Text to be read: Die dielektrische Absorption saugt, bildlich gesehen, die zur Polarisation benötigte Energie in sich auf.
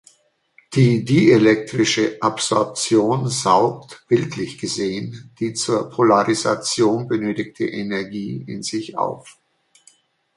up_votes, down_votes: 2, 0